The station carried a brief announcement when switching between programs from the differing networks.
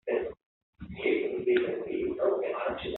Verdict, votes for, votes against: rejected, 0, 2